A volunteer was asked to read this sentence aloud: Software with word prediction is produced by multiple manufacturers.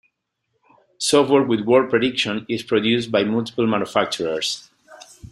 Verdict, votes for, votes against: accepted, 2, 0